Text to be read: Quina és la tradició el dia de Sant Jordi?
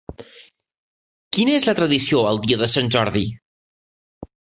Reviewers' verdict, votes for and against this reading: accepted, 3, 0